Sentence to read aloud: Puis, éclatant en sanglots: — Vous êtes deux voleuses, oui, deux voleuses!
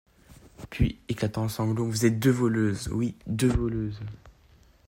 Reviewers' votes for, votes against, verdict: 2, 0, accepted